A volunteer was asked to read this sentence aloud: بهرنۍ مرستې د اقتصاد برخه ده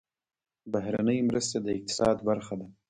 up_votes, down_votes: 1, 2